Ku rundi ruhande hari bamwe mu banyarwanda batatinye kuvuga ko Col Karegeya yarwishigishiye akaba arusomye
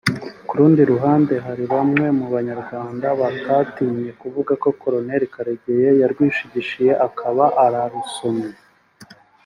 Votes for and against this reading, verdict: 2, 0, accepted